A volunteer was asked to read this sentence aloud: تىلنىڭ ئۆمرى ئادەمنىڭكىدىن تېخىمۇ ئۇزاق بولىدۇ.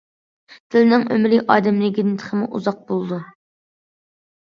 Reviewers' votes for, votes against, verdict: 2, 0, accepted